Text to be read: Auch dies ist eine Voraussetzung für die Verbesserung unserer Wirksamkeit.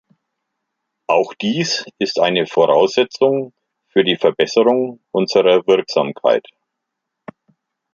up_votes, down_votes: 2, 0